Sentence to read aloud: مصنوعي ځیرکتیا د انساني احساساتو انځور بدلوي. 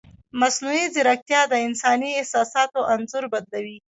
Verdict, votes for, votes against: rejected, 0, 2